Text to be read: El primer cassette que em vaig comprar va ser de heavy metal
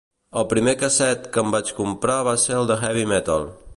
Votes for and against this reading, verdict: 0, 2, rejected